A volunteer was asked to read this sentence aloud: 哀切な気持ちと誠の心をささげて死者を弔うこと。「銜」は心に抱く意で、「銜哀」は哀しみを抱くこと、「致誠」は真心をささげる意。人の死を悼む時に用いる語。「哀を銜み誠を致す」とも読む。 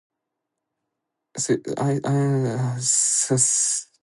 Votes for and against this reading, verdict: 0, 2, rejected